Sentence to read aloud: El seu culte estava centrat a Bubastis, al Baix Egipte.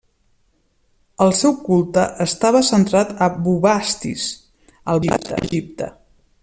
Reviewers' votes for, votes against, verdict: 1, 2, rejected